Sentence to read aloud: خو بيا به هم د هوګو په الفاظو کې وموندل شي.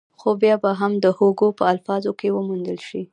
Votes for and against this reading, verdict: 2, 1, accepted